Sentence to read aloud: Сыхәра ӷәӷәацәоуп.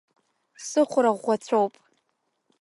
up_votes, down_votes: 2, 0